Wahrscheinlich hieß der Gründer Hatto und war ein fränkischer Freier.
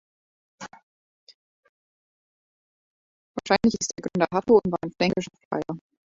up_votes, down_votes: 0, 2